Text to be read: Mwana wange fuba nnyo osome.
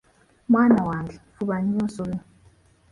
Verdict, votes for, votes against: accepted, 2, 0